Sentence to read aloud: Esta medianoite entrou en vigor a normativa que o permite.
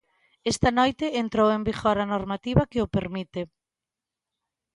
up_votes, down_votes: 0, 2